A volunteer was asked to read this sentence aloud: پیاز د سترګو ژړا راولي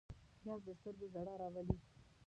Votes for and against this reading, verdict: 1, 2, rejected